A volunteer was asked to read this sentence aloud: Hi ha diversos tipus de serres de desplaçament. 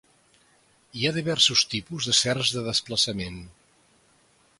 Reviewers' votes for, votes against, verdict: 2, 0, accepted